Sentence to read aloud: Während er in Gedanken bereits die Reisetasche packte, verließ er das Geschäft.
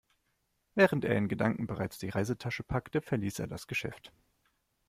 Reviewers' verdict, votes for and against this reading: accepted, 2, 0